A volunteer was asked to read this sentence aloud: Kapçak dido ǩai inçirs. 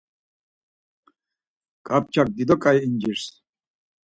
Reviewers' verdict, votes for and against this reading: rejected, 0, 4